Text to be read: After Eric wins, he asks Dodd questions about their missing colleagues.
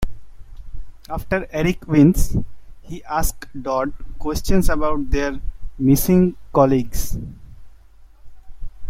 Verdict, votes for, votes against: accepted, 3, 0